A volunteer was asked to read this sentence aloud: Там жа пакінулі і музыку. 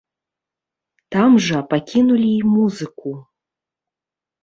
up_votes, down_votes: 0, 2